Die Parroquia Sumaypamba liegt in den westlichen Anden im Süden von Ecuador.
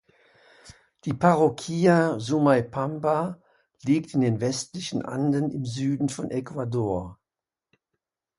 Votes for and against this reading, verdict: 2, 0, accepted